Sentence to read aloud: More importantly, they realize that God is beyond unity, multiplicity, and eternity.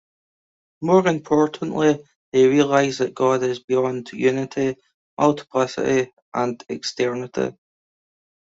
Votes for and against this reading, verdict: 0, 2, rejected